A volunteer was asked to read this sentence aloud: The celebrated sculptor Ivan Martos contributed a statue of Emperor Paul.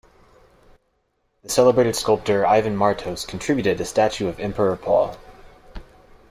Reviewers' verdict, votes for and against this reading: accepted, 2, 0